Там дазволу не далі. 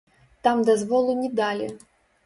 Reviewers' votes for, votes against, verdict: 0, 2, rejected